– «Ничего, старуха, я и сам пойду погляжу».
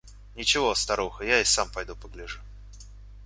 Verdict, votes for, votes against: accepted, 2, 0